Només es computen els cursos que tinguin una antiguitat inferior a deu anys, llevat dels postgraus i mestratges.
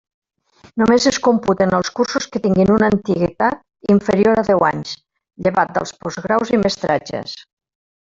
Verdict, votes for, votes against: rejected, 1, 2